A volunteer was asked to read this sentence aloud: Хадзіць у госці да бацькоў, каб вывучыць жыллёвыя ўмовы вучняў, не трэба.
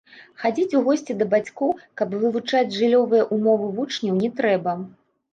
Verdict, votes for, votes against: rejected, 1, 2